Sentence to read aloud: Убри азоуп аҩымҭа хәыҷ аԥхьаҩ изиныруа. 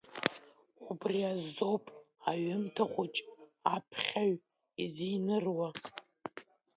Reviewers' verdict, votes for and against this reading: rejected, 0, 2